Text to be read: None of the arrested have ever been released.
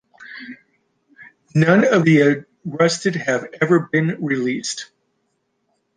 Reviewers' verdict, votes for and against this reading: accepted, 2, 0